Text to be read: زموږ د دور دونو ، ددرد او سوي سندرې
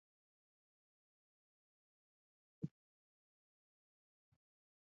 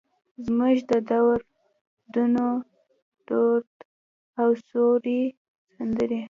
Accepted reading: second